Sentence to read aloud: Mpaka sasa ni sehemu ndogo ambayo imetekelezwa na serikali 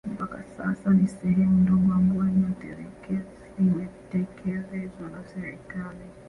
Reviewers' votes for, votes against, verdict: 1, 2, rejected